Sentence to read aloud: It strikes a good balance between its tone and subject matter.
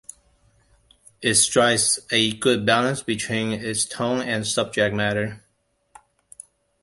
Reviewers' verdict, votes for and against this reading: accepted, 2, 1